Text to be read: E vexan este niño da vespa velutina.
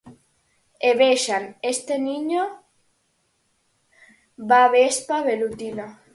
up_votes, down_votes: 4, 0